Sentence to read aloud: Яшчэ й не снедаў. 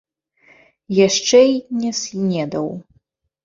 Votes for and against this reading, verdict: 1, 2, rejected